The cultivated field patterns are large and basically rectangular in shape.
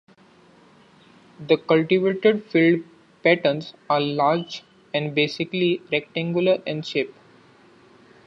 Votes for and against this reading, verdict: 2, 0, accepted